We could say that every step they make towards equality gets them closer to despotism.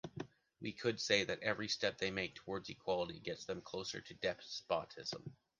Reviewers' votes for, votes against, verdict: 2, 0, accepted